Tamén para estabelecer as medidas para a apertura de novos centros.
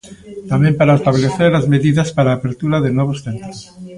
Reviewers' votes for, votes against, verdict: 0, 2, rejected